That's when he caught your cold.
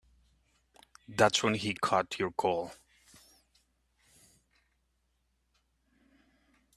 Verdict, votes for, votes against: rejected, 0, 2